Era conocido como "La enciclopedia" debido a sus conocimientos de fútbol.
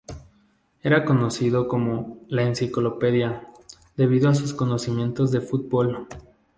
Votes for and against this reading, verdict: 2, 0, accepted